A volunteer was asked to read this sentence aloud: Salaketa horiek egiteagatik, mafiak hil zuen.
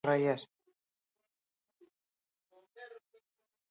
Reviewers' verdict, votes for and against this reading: rejected, 0, 2